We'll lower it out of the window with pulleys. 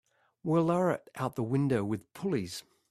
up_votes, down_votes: 2, 0